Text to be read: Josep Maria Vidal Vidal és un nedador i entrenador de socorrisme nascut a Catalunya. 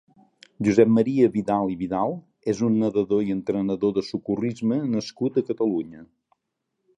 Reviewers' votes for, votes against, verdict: 2, 1, accepted